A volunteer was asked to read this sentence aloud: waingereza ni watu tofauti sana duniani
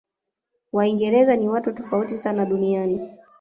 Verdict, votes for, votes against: accepted, 2, 0